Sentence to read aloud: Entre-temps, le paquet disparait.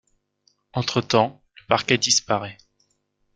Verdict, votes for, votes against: rejected, 0, 2